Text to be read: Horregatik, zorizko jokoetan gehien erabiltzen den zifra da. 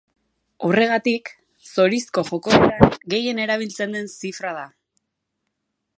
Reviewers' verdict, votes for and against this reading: rejected, 1, 3